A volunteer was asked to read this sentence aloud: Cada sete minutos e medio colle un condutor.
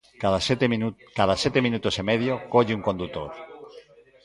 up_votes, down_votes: 0, 3